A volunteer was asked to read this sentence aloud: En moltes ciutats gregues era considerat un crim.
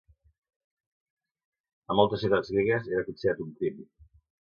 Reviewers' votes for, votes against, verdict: 2, 0, accepted